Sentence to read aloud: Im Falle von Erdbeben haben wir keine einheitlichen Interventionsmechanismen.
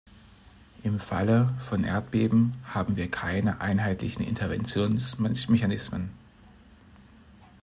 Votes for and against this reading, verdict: 1, 2, rejected